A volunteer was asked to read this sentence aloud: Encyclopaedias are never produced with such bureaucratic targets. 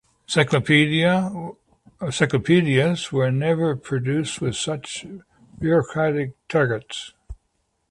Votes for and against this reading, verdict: 1, 2, rejected